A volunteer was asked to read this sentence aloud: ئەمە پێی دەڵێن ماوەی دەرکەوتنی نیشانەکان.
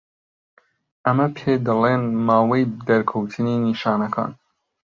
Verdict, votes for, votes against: rejected, 1, 2